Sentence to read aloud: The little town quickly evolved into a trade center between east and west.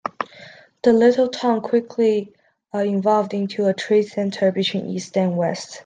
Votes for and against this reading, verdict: 0, 2, rejected